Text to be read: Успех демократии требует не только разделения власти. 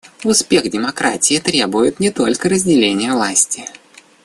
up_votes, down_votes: 1, 2